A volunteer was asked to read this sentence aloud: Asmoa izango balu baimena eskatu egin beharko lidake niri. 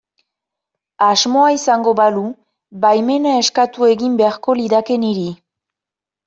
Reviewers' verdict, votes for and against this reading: accepted, 2, 0